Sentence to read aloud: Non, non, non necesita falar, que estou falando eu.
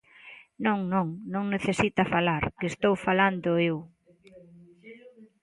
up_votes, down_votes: 2, 0